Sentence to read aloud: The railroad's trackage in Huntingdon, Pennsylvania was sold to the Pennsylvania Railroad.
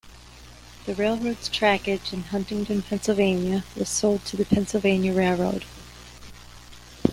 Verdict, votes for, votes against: accepted, 2, 0